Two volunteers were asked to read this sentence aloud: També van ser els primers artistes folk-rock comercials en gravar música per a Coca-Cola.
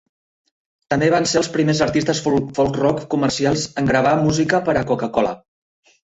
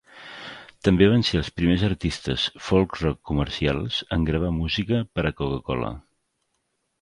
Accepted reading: second